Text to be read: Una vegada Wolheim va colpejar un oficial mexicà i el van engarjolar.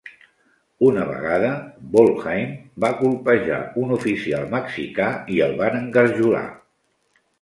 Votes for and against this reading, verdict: 2, 0, accepted